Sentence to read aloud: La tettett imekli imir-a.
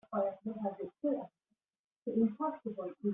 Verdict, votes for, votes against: rejected, 0, 2